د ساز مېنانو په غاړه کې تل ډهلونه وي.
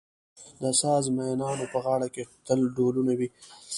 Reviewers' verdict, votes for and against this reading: accepted, 2, 0